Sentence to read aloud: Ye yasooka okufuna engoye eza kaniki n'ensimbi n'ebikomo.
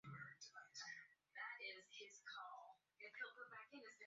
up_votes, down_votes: 0, 2